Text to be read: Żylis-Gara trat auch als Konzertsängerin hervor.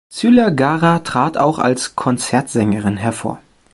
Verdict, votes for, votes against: rejected, 1, 2